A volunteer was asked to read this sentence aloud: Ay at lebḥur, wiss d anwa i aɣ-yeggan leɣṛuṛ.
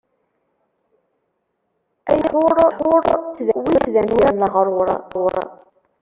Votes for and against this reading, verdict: 0, 2, rejected